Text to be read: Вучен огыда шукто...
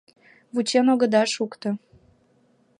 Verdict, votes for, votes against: accepted, 2, 0